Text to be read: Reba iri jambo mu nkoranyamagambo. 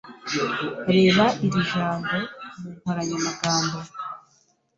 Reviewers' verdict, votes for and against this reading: accepted, 2, 0